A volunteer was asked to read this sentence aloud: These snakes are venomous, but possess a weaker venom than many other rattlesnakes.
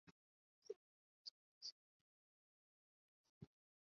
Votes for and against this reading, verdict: 0, 2, rejected